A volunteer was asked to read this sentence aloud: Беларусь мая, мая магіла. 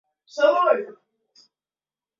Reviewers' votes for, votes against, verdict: 0, 2, rejected